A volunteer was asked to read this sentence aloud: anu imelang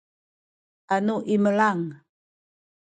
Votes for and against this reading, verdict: 1, 2, rejected